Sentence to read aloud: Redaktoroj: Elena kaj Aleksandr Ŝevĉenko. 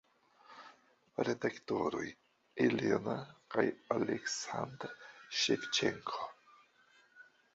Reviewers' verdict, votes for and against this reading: rejected, 0, 2